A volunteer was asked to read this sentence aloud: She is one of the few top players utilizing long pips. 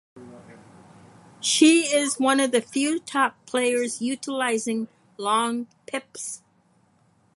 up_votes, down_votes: 4, 0